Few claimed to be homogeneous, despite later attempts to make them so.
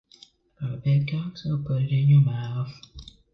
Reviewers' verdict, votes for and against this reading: rejected, 1, 2